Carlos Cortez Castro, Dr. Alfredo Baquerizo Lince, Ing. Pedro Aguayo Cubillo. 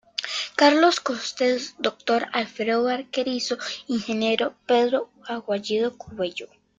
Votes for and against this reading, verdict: 1, 2, rejected